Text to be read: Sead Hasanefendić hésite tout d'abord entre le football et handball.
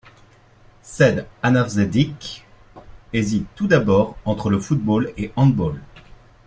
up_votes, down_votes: 1, 2